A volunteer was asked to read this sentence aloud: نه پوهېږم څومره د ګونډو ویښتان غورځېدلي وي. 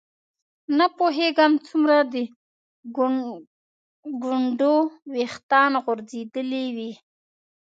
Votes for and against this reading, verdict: 1, 2, rejected